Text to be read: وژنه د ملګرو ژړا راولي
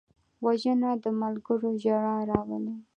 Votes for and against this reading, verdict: 2, 0, accepted